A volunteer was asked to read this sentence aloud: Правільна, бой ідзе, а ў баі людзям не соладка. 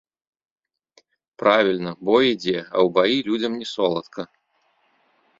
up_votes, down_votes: 2, 0